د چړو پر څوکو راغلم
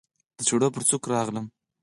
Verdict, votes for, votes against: accepted, 4, 0